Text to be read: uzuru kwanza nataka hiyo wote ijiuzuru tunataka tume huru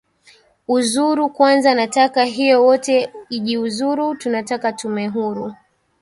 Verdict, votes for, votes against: rejected, 1, 2